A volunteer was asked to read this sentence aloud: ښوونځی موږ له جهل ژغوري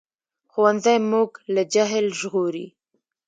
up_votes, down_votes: 0, 2